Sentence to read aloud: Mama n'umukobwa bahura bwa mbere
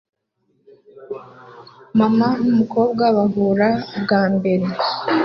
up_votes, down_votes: 3, 0